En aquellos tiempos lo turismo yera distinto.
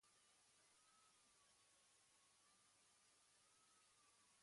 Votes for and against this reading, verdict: 1, 2, rejected